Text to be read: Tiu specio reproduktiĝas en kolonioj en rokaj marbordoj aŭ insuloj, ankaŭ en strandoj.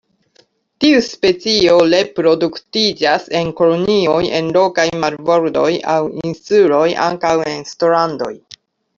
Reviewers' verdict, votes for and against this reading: rejected, 0, 2